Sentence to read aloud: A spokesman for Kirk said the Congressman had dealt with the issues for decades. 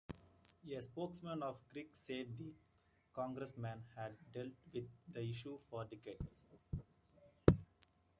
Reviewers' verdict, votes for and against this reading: rejected, 0, 2